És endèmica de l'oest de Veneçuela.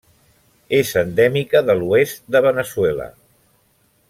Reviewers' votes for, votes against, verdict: 1, 2, rejected